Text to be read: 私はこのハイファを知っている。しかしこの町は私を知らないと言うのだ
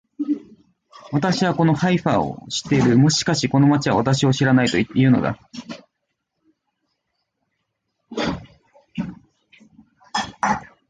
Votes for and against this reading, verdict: 0, 2, rejected